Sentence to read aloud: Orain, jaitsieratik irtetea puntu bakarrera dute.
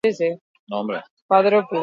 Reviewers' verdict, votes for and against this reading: rejected, 0, 4